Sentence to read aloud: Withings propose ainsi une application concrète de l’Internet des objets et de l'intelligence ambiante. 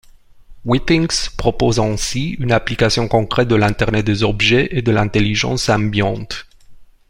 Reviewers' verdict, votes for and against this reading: rejected, 1, 2